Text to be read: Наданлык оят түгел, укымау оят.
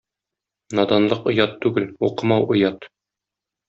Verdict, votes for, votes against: accepted, 2, 0